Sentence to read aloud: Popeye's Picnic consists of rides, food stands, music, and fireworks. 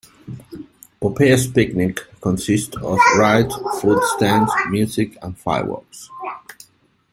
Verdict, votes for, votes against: rejected, 1, 2